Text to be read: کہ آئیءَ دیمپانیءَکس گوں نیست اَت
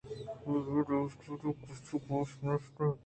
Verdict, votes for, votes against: accepted, 2, 0